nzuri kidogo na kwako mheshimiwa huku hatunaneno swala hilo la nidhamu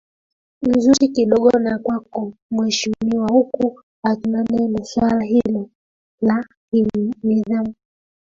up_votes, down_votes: 0, 2